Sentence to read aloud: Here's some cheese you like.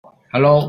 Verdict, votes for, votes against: rejected, 0, 2